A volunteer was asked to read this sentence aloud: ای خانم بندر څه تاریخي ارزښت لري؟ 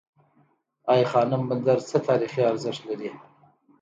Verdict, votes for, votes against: accepted, 2, 0